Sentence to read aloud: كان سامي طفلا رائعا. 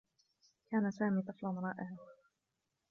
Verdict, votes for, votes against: rejected, 1, 3